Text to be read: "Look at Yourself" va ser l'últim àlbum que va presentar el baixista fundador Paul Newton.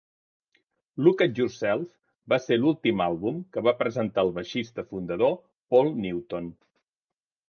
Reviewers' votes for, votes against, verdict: 3, 0, accepted